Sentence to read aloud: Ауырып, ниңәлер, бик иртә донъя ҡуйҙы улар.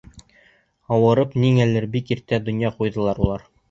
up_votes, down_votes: 0, 2